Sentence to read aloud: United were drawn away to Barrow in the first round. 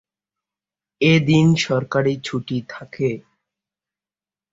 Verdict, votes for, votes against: rejected, 0, 2